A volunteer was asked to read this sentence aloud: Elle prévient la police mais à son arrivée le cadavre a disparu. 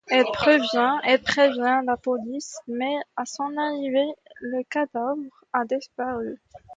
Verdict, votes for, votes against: accepted, 2, 1